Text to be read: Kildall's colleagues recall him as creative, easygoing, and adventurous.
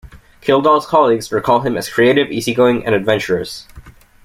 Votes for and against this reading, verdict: 2, 0, accepted